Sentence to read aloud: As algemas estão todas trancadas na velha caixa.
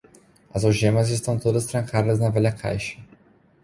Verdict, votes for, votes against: accepted, 2, 0